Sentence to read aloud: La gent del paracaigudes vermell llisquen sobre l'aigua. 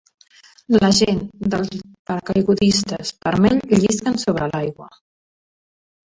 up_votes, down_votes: 0, 2